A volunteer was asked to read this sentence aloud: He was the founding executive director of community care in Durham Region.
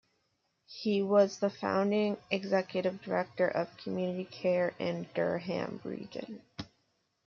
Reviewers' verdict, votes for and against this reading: accepted, 2, 0